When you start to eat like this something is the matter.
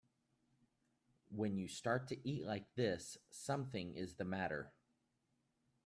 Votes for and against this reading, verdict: 2, 1, accepted